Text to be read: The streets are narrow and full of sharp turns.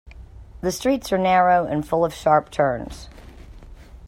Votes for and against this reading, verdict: 2, 0, accepted